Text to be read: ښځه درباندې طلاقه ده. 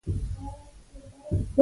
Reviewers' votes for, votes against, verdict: 0, 2, rejected